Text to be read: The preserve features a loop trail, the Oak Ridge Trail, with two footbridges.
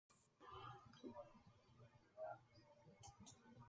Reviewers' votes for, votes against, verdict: 0, 2, rejected